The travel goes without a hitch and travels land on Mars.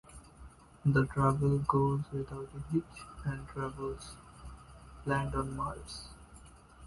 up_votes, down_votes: 2, 0